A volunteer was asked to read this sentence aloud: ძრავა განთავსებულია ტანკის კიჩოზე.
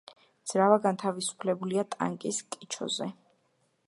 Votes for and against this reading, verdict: 1, 2, rejected